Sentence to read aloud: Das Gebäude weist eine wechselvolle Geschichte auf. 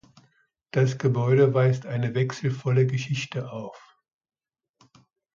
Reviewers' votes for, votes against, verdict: 2, 0, accepted